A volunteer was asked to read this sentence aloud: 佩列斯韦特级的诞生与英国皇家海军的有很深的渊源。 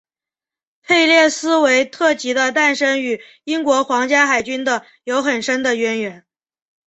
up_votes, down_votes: 9, 0